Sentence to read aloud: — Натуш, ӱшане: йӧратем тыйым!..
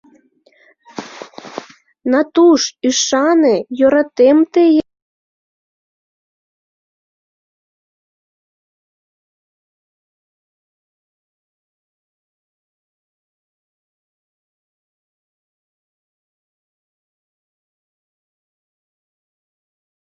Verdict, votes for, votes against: rejected, 0, 2